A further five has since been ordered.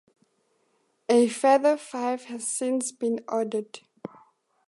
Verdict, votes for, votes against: accepted, 2, 0